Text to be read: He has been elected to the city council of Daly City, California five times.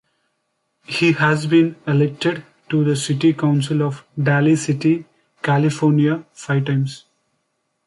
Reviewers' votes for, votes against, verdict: 2, 0, accepted